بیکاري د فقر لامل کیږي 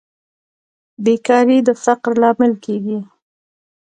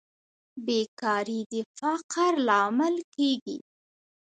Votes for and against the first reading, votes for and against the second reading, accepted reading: 2, 0, 1, 2, first